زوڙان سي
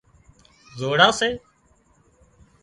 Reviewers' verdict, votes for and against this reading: rejected, 0, 2